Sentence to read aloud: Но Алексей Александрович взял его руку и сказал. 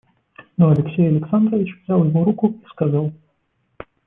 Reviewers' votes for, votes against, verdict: 2, 0, accepted